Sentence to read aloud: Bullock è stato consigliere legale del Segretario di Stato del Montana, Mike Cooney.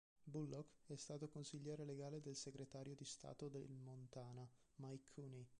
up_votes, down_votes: 0, 2